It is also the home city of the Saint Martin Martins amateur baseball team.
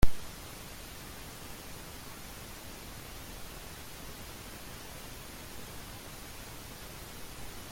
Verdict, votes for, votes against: rejected, 0, 2